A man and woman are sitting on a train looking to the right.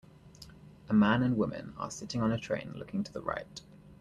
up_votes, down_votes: 3, 0